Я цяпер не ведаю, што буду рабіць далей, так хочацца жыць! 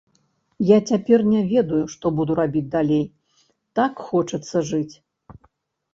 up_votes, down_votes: 3, 0